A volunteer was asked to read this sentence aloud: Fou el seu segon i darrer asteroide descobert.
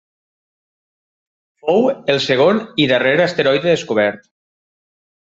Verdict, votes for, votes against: rejected, 0, 2